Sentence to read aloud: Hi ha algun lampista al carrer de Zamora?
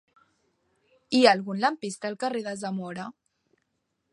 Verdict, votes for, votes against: accepted, 4, 0